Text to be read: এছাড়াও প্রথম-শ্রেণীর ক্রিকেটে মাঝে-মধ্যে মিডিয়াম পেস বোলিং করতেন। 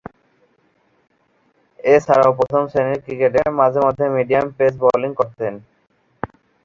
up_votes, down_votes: 7, 2